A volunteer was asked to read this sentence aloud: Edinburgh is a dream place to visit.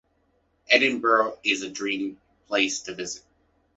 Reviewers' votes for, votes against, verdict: 2, 0, accepted